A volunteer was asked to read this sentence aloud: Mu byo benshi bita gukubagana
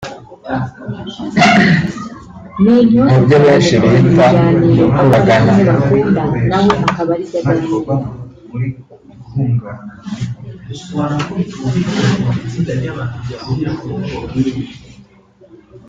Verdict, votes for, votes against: rejected, 0, 2